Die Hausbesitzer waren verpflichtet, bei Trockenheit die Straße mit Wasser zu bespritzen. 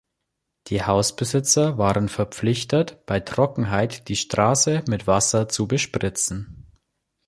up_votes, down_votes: 2, 0